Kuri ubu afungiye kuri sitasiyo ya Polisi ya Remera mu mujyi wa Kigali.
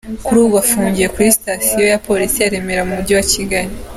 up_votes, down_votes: 2, 0